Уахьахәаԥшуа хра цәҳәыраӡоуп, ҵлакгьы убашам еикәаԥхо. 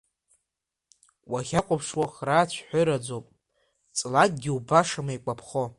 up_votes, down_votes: 0, 2